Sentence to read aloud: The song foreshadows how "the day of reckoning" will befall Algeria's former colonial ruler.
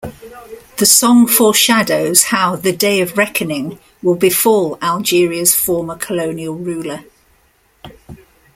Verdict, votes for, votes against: accepted, 2, 0